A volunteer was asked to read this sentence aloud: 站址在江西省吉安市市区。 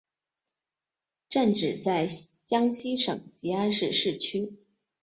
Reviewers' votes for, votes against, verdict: 2, 1, accepted